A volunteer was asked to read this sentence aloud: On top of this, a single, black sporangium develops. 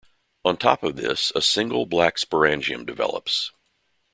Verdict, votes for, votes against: accepted, 2, 0